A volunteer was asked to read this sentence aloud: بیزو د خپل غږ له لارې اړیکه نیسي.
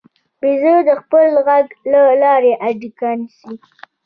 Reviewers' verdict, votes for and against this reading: rejected, 0, 2